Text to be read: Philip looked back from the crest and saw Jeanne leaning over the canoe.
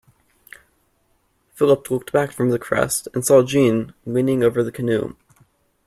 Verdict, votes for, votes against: accepted, 2, 1